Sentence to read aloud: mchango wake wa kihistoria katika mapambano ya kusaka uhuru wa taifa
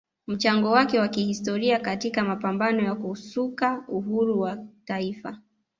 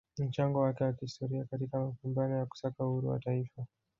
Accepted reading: first